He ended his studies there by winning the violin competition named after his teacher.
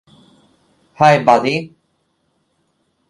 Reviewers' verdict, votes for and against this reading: rejected, 0, 2